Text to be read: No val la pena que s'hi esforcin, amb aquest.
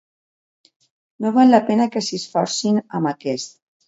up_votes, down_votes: 2, 0